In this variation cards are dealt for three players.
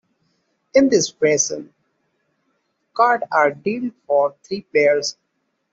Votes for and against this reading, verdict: 1, 2, rejected